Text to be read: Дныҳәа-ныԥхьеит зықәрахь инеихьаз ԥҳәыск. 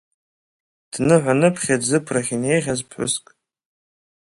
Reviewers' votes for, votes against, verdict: 1, 2, rejected